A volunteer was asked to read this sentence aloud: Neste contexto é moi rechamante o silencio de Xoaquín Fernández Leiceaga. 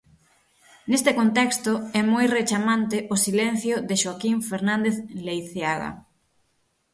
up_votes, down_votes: 6, 0